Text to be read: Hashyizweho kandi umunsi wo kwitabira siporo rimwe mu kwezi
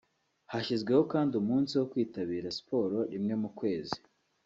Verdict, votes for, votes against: rejected, 1, 2